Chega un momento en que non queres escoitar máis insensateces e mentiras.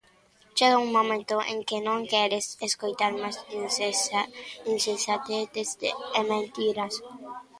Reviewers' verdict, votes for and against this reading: rejected, 0, 2